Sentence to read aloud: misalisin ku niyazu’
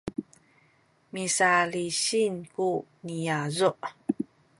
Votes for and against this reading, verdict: 1, 2, rejected